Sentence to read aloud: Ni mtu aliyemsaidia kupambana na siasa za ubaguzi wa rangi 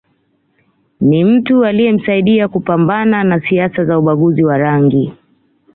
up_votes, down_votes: 2, 0